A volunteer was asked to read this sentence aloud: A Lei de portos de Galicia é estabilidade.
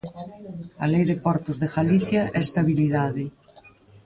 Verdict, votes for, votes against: rejected, 2, 4